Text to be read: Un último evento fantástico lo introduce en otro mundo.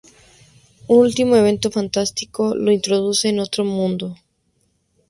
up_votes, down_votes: 4, 0